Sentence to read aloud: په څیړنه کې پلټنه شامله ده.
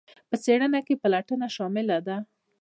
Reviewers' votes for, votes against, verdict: 1, 2, rejected